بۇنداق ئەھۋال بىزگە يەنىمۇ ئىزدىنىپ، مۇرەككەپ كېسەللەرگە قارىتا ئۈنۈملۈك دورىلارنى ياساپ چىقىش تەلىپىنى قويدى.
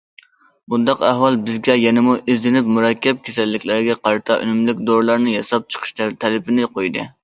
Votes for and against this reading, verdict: 0, 2, rejected